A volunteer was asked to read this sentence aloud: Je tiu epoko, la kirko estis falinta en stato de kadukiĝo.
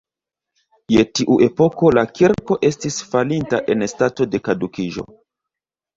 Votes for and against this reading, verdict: 1, 2, rejected